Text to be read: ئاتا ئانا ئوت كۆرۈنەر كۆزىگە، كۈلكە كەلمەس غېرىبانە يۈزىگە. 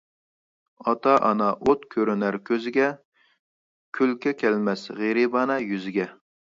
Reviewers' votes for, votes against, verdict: 2, 0, accepted